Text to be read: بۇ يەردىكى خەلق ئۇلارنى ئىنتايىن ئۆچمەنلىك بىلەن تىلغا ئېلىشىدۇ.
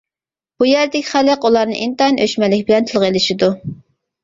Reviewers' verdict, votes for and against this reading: rejected, 1, 2